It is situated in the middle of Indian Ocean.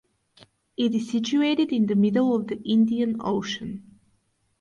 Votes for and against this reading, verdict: 0, 2, rejected